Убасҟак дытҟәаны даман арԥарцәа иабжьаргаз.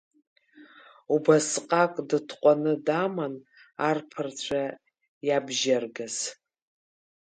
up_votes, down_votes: 2, 0